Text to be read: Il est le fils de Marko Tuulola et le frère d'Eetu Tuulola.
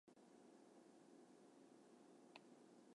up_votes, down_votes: 0, 2